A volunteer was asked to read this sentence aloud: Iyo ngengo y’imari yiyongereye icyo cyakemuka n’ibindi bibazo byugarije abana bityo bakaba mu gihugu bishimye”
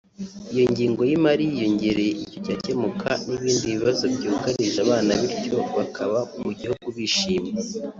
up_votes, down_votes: 2, 0